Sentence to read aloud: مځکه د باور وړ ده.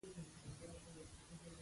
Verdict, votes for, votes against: rejected, 0, 2